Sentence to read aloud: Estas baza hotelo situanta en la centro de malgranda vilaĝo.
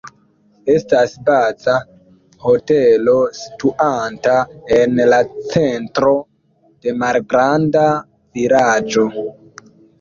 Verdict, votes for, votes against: rejected, 1, 2